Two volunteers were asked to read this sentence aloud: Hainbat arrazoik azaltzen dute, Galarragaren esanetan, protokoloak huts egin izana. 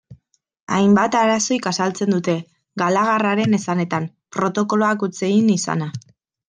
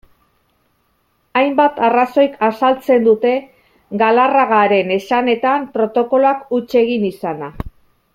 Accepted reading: second